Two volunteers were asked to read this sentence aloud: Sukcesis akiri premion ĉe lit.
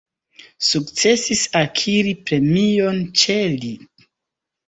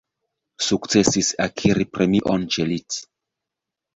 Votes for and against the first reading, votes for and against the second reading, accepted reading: 2, 1, 0, 2, first